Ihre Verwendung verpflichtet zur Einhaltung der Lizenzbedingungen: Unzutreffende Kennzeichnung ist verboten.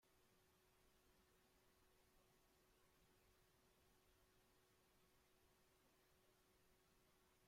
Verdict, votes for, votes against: rejected, 0, 2